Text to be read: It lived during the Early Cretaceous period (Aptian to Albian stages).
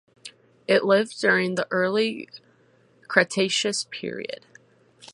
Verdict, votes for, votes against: rejected, 0, 4